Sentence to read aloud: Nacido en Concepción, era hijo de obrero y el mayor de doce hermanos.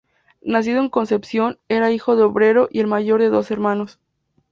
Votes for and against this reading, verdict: 2, 0, accepted